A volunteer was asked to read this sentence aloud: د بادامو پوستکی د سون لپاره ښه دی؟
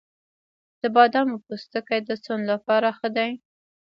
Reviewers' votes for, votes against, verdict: 1, 2, rejected